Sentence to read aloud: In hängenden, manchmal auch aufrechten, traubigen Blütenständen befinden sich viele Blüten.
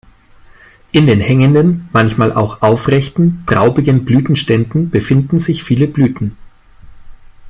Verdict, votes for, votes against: rejected, 1, 2